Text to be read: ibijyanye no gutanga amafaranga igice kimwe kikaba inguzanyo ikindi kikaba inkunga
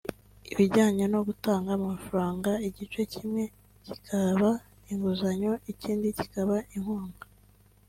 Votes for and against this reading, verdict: 2, 0, accepted